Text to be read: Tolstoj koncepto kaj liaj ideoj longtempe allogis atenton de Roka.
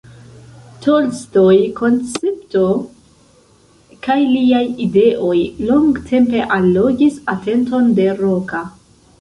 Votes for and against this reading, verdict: 1, 2, rejected